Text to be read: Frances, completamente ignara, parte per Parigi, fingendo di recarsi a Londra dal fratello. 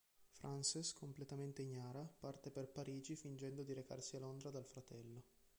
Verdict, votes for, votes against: rejected, 2, 3